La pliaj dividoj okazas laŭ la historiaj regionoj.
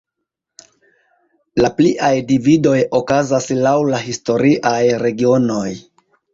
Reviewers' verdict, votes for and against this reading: accepted, 2, 1